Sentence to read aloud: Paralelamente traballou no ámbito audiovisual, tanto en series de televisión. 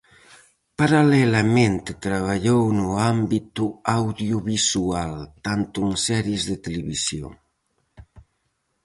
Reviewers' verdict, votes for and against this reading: accepted, 4, 0